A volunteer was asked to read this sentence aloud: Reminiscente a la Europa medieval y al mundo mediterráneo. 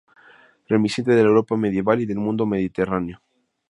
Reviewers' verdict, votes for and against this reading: rejected, 0, 2